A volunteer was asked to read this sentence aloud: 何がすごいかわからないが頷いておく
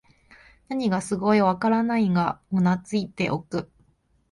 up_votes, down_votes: 0, 2